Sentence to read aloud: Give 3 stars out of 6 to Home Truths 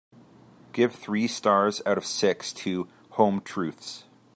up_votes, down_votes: 0, 2